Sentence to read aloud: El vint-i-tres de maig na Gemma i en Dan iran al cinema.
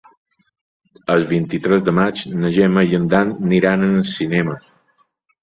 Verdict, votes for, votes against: rejected, 0, 2